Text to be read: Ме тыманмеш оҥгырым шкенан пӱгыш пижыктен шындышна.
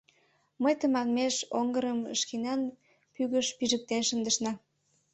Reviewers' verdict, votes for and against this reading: rejected, 0, 2